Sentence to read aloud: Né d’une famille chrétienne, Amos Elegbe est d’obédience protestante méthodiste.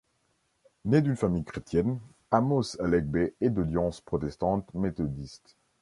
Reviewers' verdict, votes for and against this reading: rejected, 0, 2